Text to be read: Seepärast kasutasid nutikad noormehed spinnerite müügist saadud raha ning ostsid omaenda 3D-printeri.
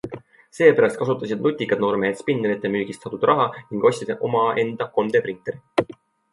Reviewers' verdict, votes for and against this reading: rejected, 0, 2